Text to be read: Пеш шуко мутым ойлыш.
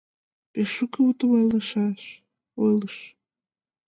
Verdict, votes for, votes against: rejected, 0, 2